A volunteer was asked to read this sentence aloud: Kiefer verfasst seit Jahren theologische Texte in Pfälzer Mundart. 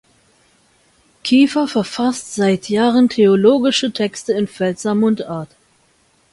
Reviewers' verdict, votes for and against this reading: accepted, 2, 0